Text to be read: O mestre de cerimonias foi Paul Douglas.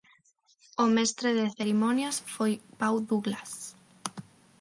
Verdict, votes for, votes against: rejected, 3, 6